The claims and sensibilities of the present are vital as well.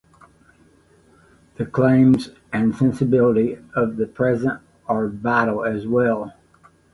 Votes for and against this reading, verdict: 0, 2, rejected